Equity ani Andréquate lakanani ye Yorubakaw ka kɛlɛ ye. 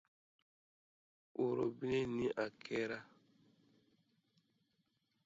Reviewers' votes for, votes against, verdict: 1, 2, rejected